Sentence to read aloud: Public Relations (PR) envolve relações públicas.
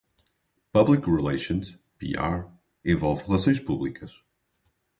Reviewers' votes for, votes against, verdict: 0, 2, rejected